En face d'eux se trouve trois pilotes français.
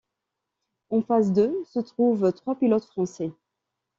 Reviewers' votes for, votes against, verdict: 2, 0, accepted